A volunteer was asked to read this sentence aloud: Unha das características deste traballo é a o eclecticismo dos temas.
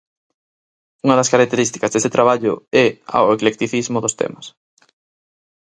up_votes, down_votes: 2, 0